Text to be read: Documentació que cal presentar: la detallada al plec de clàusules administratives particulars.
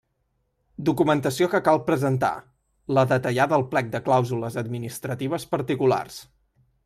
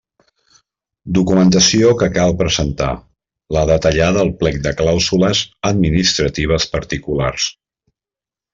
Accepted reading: first